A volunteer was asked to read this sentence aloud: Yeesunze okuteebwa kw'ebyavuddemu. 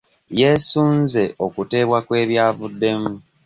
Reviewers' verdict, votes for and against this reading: accepted, 2, 0